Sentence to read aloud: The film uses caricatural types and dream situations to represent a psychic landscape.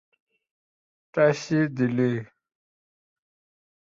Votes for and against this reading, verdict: 0, 2, rejected